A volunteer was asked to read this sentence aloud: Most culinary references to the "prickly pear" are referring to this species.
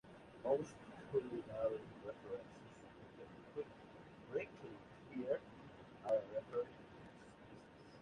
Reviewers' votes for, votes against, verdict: 1, 2, rejected